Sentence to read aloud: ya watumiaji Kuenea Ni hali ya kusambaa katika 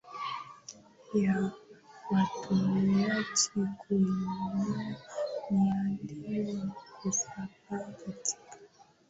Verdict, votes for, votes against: rejected, 1, 2